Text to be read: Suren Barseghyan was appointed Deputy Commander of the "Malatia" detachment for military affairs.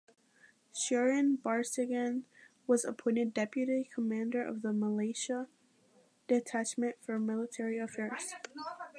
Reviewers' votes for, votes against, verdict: 2, 1, accepted